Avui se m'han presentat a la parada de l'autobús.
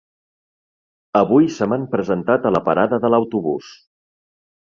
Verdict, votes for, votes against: accepted, 4, 0